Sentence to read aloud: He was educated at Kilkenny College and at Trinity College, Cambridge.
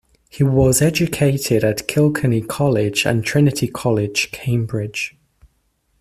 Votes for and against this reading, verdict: 1, 2, rejected